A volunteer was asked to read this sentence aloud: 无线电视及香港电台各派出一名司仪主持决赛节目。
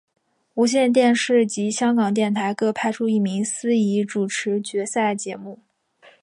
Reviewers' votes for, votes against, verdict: 5, 2, accepted